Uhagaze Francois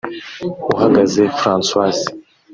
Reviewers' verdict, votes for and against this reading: rejected, 0, 2